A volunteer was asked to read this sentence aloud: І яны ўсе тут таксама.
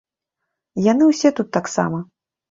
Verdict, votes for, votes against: rejected, 1, 2